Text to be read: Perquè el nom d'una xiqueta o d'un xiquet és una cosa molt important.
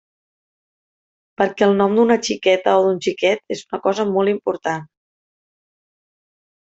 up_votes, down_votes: 3, 0